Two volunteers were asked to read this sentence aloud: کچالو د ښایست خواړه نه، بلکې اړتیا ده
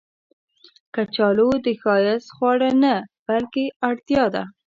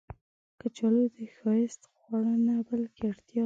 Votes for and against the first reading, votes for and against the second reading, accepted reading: 2, 0, 1, 2, first